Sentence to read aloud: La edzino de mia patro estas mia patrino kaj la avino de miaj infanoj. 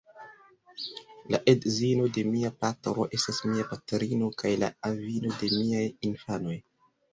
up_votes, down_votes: 2, 0